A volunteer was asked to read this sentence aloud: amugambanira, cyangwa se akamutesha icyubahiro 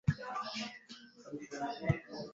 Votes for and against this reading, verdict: 1, 2, rejected